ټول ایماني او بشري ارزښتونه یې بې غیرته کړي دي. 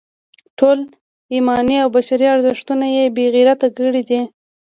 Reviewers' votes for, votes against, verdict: 2, 1, accepted